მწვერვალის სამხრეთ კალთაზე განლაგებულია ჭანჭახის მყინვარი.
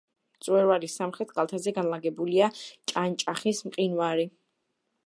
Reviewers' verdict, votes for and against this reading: accepted, 2, 0